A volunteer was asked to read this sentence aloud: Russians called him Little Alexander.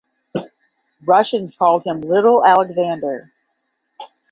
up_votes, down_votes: 15, 0